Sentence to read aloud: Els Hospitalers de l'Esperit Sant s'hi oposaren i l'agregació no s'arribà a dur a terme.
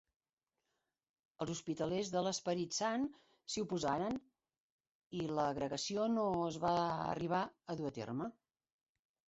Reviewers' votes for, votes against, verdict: 1, 2, rejected